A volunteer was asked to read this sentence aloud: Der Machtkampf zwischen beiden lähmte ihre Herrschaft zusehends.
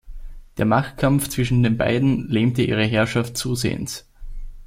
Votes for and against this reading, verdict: 1, 2, rejected